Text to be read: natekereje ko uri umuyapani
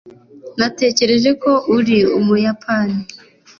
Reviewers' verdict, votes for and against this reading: accepted, 2, 1